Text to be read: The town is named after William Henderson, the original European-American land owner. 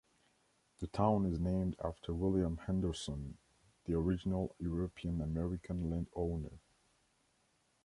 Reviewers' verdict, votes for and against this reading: accepted, 2, 0